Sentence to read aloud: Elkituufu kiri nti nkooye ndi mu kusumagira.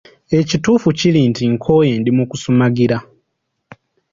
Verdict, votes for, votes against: accepted, 2, 0